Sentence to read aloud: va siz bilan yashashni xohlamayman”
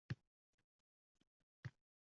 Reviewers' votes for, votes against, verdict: 1, 2, rejected